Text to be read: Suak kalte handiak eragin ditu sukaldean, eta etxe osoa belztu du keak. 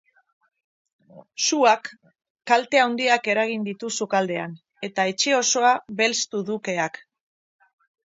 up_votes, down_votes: 2, 4